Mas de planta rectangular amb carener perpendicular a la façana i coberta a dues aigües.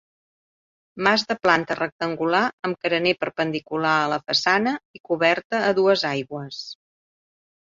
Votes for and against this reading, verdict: 2, 0, accepted